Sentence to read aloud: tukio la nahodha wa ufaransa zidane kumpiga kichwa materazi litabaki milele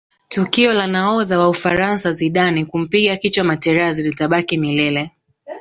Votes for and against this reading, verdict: 2, 0, accepted